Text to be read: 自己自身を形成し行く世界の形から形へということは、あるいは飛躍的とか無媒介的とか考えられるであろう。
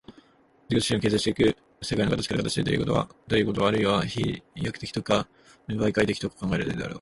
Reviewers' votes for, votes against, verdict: 1, 2, rejected